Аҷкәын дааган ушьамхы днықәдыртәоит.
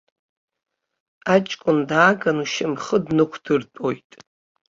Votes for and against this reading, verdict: 1, 2, rejected